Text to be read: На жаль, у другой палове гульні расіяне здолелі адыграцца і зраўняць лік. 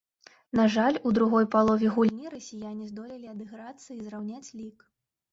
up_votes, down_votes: 0, 2